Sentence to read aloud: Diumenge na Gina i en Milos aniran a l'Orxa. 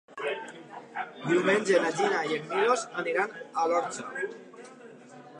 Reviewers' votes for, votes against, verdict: 0, 2, rejected